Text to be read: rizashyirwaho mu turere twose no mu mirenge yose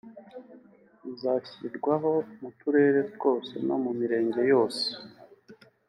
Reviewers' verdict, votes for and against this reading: accepted, 2, 0